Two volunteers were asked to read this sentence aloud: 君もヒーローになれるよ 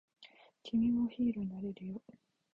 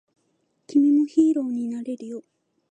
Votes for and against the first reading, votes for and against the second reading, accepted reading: 0, 2, 2, 0, second